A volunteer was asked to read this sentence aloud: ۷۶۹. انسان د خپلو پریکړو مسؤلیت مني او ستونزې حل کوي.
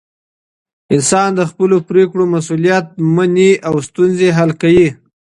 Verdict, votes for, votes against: rejected, 0, 2